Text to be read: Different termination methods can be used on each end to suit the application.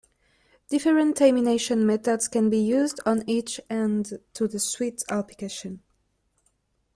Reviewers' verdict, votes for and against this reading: accepted, 2, 1